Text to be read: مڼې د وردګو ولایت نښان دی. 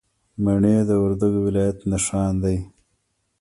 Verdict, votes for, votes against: rejected, 1, 2